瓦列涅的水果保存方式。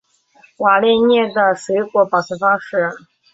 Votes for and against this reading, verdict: 2, 0, accepted